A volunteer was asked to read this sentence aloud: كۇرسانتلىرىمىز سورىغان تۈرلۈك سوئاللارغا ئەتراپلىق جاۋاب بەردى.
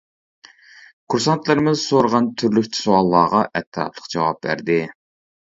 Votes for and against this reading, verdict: 0, 2, rejected